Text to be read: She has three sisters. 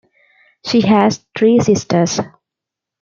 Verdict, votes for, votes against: accepted, 2, 0